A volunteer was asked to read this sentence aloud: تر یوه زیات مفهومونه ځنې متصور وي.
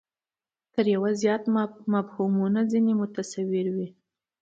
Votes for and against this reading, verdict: 2, 0, accepted